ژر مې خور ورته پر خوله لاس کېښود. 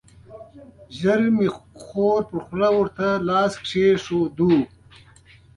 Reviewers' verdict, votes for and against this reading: rejected, 1, 2